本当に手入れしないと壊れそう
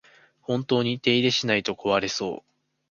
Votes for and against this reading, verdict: 2, 0, accepted